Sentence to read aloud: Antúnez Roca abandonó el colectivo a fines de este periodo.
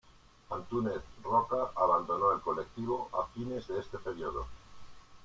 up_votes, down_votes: 2, 1